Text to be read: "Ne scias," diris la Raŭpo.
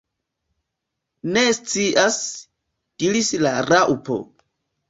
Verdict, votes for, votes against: rejected, 1, 2